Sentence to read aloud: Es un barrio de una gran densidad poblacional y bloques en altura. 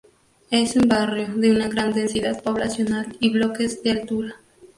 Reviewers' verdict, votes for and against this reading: accepted, 2, 0